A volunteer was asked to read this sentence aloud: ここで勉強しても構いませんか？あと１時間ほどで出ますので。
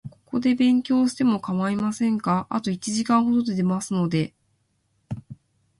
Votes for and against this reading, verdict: 0, 2, rejected